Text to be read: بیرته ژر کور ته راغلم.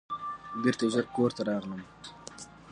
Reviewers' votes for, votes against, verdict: 2, 1, accepted